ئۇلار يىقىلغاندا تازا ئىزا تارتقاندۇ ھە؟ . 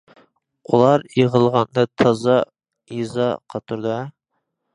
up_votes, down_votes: 0, 2